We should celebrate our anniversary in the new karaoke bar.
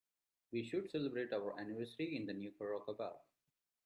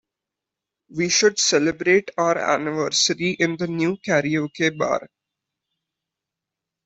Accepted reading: second